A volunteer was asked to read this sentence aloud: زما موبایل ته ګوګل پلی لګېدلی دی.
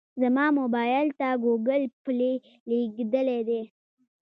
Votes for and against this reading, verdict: 1, 2, rejected